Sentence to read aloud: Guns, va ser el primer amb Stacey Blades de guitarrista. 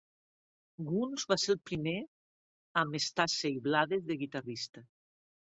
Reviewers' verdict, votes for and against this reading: rejected, 0, 2